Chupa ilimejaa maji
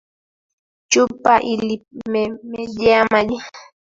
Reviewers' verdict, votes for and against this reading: rejected, 0, 3